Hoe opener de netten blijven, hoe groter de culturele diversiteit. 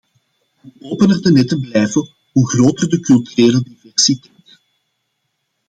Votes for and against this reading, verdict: 0, 2, rejected